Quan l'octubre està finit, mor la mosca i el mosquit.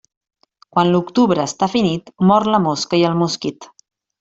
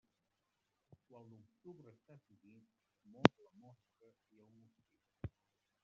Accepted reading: first